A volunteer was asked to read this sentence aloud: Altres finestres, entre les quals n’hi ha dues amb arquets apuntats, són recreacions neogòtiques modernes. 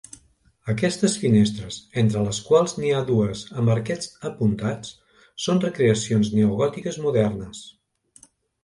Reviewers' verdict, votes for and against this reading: rejected, 0, 2